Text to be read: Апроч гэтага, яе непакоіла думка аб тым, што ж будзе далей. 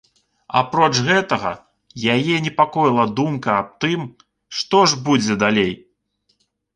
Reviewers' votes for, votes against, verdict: 2, 0, accepted